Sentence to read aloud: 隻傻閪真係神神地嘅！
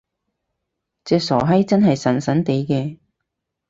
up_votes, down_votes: 4, 0